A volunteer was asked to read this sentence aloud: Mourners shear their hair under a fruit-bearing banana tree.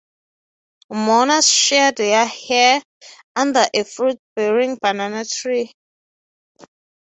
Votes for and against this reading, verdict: 3, 0, accepted